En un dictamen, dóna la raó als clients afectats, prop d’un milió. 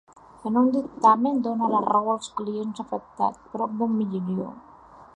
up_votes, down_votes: 0, 2